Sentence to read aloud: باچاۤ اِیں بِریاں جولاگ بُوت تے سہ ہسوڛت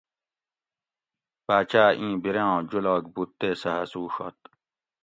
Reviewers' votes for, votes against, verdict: 2, 0, accepted